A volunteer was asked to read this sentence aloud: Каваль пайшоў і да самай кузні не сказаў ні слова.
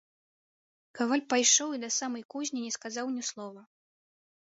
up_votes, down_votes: 2, 0